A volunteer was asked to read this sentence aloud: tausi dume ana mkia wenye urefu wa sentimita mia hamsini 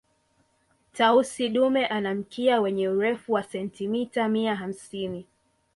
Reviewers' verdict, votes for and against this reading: accepted, 2, 0